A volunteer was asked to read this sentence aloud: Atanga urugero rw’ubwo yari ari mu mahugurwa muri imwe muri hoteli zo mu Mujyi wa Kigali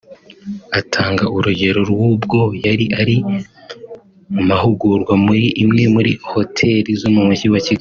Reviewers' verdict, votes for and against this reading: rejected, 0, 2